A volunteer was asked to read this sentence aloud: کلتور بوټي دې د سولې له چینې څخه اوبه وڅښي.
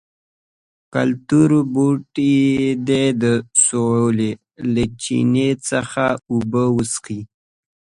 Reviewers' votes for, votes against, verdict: 2, 0, accepted